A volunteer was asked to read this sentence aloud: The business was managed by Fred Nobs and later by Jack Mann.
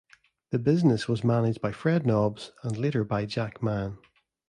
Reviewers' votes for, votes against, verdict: 2, 0, accepted